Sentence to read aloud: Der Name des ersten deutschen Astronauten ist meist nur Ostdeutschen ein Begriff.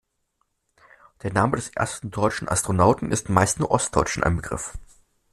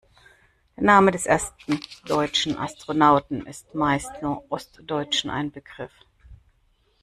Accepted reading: first